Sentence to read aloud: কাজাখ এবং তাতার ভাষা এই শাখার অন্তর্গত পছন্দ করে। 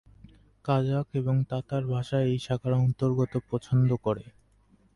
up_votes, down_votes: 6, 0